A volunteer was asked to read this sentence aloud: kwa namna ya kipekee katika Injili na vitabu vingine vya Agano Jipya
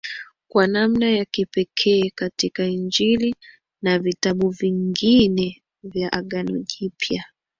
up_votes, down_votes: 2, 0